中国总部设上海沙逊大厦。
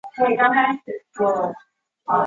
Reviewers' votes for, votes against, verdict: 0, 2, rejected